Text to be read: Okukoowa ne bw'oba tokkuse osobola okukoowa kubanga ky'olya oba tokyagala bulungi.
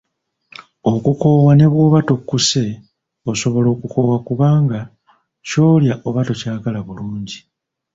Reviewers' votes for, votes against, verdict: 1, 2, rejected